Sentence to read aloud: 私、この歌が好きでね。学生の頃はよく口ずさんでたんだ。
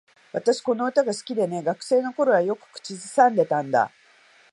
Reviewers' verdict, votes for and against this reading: accepted, 2, 0